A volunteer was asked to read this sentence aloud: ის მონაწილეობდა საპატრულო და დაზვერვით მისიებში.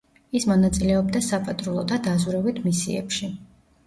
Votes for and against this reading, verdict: 2, 0, accepted